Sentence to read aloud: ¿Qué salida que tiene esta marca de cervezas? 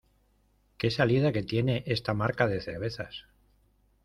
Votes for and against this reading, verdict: 2, 0, accepted